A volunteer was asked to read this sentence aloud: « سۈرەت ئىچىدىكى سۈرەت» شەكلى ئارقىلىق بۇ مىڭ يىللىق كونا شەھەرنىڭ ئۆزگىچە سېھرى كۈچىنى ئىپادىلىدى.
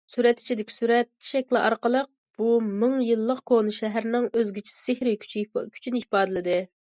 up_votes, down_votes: 0, 2